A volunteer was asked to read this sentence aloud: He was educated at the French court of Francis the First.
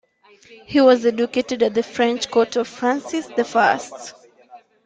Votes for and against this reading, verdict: 2, 0, accepted